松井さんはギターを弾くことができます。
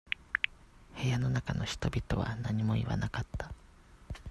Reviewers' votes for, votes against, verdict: 0, 2, rejected